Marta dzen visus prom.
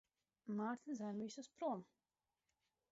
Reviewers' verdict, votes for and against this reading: rejected, 0, 4